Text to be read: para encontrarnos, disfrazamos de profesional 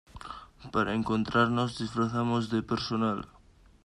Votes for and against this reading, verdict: 1, 2, rejected